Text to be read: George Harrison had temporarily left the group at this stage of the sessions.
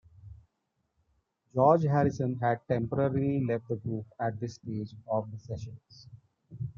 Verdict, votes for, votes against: accepted, 2, 1